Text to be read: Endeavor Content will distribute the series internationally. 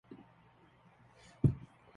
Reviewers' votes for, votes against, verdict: 0, 2, rejected